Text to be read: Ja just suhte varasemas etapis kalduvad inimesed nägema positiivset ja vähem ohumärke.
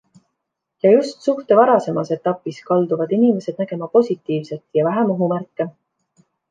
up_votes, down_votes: 2, 0